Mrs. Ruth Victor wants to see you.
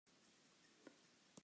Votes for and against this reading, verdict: 0, 2, rejected